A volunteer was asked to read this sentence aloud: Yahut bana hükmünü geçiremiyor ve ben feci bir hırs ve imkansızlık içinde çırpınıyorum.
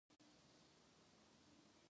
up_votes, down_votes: 0, 2